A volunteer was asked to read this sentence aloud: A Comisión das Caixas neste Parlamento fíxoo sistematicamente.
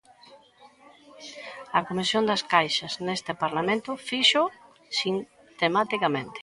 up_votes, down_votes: 0, 3